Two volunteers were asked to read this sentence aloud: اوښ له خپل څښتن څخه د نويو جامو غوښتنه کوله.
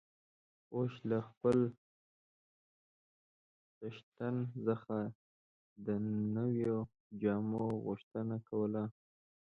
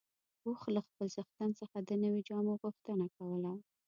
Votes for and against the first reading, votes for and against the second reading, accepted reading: 0, 2, 2, 0, second